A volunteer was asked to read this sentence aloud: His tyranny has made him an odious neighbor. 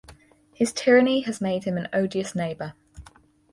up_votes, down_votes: 4, 0